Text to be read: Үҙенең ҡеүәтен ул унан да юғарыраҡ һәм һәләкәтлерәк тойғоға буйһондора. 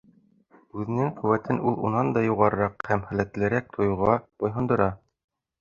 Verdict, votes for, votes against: accepted, 3, 2